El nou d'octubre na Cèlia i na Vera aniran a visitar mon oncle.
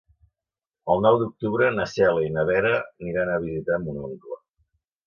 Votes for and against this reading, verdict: 2, 0, accepted